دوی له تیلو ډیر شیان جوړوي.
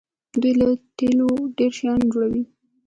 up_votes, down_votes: 1, 2